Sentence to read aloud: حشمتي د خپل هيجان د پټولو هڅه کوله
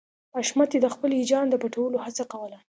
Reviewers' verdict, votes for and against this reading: accepted, 2, 0